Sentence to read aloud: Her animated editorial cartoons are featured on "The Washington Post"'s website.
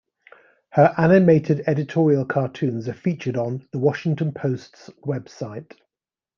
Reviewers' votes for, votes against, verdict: 2, 0, accepted